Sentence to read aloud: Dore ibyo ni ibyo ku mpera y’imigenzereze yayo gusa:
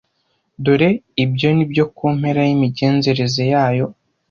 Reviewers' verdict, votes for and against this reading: rejected, 1, 2